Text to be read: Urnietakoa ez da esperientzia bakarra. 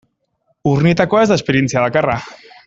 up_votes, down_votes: 2, 0